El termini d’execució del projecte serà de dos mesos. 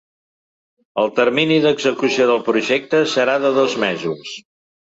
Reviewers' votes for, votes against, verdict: 3, 0, accepted